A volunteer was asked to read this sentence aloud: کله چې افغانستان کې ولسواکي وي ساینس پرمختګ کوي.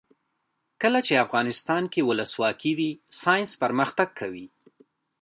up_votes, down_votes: 2, 1